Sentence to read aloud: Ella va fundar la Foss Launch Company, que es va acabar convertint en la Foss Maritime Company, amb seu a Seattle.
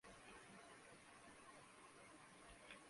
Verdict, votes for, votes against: rejected, 0, 2